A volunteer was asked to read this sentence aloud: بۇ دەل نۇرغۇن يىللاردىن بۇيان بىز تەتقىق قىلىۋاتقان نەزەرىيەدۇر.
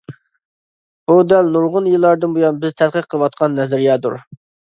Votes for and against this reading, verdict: 2, 0, accepted